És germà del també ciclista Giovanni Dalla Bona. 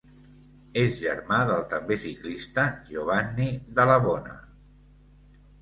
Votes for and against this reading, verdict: 2, 0, accepted